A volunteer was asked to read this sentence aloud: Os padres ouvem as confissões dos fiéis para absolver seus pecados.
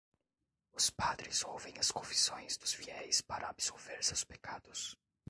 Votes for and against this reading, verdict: 0, 2, rejected